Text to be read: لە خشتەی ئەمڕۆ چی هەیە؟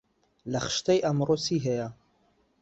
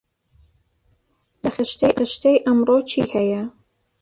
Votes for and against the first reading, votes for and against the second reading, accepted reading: 2, 0, 0, 2, first